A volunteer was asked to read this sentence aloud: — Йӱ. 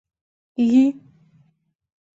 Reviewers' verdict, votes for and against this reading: accepted, 2, 0